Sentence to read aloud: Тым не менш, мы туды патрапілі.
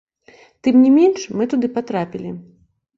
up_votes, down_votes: 2, 0